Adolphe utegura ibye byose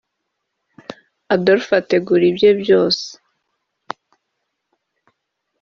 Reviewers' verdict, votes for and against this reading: rejected, 1, 2